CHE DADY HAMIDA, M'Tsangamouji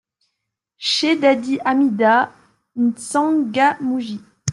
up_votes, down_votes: 2, 0